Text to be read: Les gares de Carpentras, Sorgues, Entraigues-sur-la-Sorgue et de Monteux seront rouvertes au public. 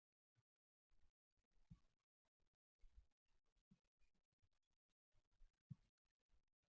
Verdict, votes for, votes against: rejected, 0, 2